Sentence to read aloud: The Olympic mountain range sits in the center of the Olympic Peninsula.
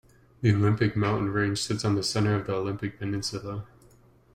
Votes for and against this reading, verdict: 0, 2, rejected